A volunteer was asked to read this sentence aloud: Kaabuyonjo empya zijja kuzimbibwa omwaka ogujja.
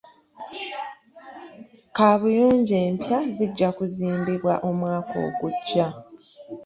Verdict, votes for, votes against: rejected, 0, 2